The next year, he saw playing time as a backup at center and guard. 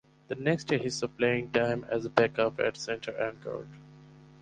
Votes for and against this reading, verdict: 4, 0, accepted